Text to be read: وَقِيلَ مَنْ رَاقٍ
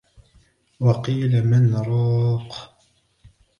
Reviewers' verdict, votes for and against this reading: accepted, 2, 0